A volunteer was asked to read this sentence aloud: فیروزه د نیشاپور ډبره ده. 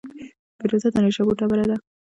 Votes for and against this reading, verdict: 0, 2, rejected